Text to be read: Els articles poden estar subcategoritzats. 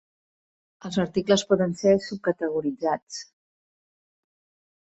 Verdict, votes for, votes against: rejected, 0, 2